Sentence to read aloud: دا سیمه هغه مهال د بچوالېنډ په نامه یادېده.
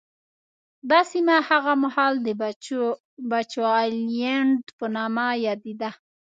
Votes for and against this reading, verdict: 1, 2, rejected